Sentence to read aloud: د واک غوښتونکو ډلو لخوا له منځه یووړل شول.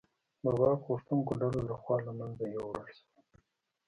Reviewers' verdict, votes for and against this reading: rejected, 1, 2